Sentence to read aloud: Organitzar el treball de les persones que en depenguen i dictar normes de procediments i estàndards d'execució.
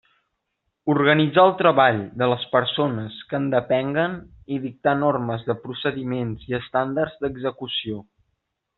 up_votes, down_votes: 4, 0